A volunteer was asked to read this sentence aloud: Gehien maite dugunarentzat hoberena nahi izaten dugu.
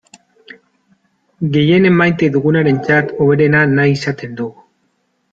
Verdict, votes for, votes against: rejected, 0, 2